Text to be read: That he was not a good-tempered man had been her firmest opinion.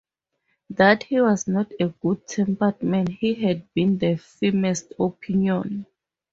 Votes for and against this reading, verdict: 0, 2, rejected